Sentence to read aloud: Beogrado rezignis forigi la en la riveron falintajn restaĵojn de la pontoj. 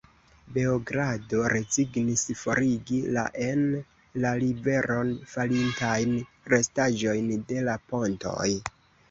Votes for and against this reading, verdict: 0, 2, rejected